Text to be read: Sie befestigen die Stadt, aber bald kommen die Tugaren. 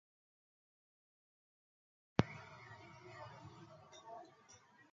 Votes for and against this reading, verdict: 0, 2, rejected